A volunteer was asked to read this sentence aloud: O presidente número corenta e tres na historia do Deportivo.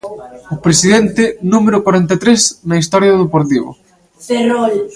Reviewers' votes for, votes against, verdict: 0, 2, rejected